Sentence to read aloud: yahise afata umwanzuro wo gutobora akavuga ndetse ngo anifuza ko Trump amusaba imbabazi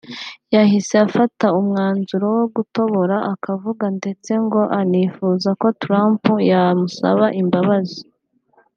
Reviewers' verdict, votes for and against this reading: rejected, 1, 2